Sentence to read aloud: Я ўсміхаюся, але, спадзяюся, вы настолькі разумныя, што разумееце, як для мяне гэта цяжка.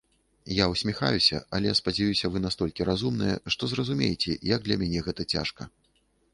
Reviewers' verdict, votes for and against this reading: rejected, 1, 2